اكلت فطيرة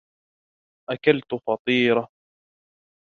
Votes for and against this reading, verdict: 2, 0, accepted